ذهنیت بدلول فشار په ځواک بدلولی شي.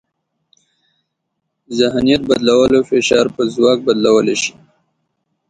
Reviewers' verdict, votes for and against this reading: rejected, 1, 2